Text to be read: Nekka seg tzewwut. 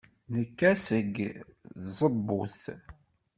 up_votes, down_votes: 1, 2